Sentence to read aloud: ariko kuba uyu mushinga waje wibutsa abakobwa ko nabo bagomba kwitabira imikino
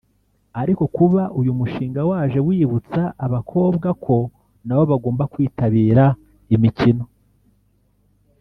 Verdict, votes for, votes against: rejected, 1, 2